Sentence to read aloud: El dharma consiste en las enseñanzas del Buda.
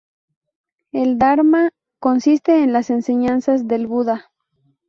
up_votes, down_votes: 2, 0